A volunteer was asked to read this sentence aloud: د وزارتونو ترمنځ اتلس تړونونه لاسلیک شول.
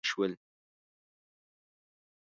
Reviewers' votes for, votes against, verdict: 0, 2, rejected